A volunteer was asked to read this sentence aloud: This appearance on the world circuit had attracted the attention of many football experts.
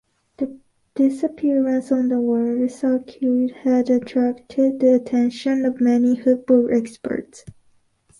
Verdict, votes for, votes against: accepted, 2, 1